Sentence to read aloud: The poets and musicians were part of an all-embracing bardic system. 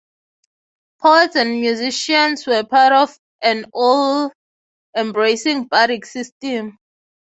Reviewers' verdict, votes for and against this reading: accepted, 3, 0